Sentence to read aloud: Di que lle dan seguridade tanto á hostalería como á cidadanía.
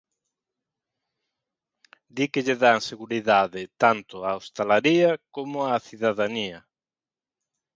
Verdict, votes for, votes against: rejected, 0, 2